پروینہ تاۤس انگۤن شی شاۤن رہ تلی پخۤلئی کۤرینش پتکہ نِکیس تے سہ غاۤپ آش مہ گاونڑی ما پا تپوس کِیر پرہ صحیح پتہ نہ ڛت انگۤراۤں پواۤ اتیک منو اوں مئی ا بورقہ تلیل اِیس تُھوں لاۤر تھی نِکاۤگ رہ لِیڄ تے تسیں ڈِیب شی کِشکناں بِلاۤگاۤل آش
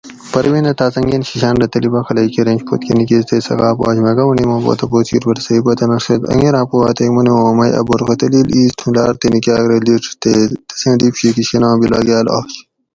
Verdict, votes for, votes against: accepted, 4, 0